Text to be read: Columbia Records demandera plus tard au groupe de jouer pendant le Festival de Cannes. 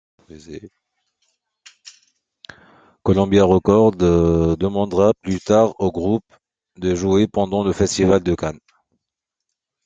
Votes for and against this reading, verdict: 2, 0, accepted